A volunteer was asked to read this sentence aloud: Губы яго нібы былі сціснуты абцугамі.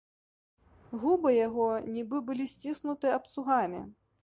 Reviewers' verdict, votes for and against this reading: accepted, 2, 0